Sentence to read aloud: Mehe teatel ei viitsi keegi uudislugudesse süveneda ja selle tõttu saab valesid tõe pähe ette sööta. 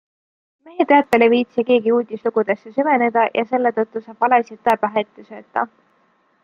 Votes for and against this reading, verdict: 2, 0, accepted